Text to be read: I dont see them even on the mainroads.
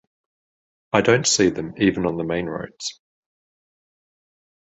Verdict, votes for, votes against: accepted, 2, 0